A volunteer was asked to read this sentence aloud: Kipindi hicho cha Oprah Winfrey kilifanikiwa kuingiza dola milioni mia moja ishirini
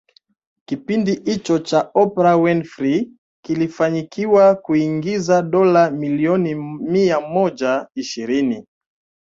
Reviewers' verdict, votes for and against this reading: accepted, 2, 1